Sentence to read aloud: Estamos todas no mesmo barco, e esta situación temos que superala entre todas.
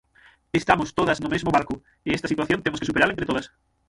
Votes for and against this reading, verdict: 0, 6, rejected